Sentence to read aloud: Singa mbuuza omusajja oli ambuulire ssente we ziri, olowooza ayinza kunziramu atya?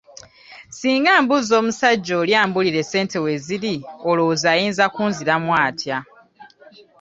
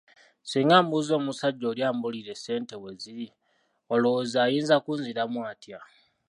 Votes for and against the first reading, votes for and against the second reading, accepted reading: 2, 0, 0, 2, first